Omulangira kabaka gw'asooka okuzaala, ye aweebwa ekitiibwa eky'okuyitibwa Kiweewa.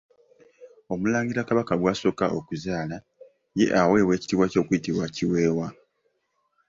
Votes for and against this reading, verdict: 2, 1, accepted